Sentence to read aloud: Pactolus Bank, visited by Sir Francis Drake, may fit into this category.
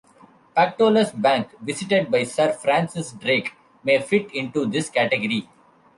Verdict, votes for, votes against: rejected, 1, 2